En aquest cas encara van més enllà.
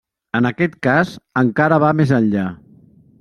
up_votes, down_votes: 1, 2